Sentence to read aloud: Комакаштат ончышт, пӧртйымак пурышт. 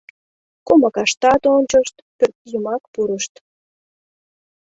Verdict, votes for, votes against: accepted, 2, 0